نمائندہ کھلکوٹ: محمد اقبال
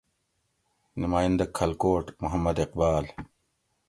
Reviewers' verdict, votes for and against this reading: accepted, 2, 0